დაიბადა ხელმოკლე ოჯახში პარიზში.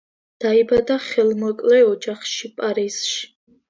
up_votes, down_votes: 2, 0